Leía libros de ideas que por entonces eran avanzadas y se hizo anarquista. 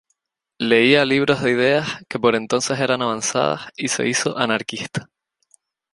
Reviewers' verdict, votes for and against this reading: rejected, 0, 2